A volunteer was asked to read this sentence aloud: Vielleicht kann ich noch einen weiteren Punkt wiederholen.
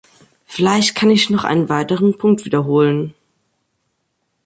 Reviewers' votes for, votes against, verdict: 2, 0, accepted